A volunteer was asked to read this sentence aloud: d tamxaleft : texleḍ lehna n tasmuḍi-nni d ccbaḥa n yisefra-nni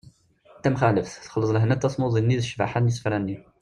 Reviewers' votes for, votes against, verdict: 2, 0, accepted